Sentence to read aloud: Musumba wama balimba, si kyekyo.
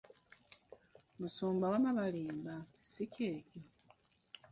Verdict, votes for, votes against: rejected, 0, 2